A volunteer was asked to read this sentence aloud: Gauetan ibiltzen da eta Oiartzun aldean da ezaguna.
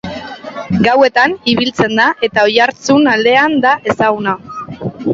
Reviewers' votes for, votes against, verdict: 2, 0, accepted